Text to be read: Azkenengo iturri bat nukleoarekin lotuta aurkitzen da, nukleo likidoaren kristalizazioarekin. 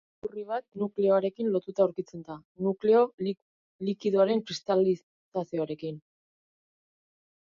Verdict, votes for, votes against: rejected, 0, 3